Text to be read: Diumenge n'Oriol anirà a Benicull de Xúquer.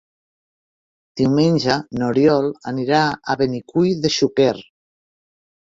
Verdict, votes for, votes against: rejected, 1, 2